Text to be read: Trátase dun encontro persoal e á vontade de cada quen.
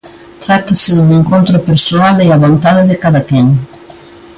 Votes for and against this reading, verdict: 2, 0, accepted